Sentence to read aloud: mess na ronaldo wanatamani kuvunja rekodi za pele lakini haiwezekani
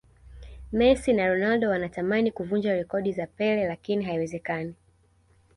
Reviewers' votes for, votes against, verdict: 2, 0, accepted